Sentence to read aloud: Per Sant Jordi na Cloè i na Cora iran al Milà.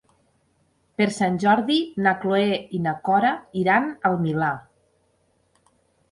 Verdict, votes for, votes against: accepted, 3, 0